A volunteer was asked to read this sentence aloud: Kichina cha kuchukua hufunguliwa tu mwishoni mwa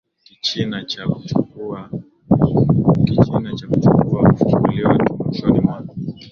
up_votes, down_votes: 7, 3